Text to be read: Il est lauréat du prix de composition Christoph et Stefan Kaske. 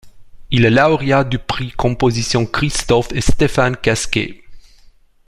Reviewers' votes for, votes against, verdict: 0, 2, rejected